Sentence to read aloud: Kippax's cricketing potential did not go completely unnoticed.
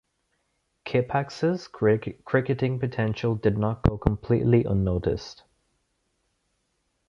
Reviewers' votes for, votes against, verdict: 0, 2, rejected